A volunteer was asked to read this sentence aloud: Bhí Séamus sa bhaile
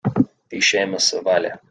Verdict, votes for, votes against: accepted, 3, 0